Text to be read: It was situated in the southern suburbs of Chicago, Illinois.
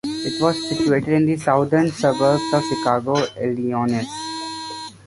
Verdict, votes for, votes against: rejected, 1, 2